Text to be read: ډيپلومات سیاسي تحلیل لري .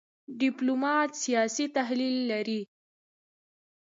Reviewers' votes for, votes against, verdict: 1, 2, rejected